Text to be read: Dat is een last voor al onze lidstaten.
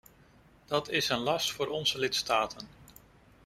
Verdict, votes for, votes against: rejected, 0, 2